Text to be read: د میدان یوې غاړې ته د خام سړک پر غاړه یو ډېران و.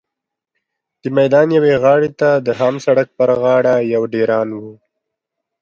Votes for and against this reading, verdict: 3, 0, accepted